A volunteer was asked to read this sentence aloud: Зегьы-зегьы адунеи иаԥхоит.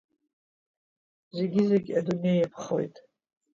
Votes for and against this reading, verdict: 2, 0, accepted